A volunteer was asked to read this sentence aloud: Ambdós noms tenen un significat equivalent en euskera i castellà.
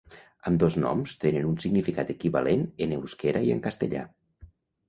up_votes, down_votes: 1, 2